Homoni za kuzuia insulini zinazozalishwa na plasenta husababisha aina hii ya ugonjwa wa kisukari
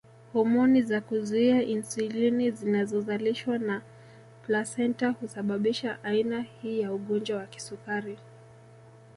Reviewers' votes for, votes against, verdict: 2, 0, accepted